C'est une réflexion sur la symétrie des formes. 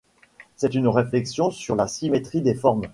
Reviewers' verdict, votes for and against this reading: accepted, 3, 0